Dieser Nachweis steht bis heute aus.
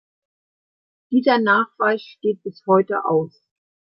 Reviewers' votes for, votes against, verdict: 2, 0, accepted